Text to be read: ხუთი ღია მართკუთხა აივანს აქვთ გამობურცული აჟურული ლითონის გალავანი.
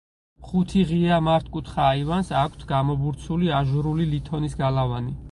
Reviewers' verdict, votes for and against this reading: rejected, 2, 4